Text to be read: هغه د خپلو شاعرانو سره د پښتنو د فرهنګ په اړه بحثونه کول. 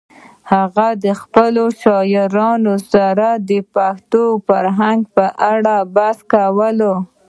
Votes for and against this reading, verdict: 0, 2, rejected